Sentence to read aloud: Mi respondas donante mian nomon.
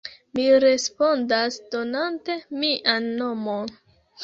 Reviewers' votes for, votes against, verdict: 1, 2, rejected